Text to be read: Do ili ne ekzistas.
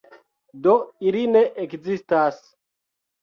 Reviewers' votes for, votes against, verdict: 2, 1, accepted